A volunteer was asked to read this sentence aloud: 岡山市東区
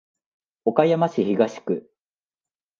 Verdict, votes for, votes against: accepted, 2, 0